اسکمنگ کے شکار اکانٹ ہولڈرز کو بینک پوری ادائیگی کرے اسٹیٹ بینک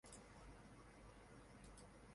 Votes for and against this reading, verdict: 0, 2, rejected